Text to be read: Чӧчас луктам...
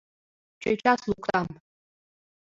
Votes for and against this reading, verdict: 2, 0, accepted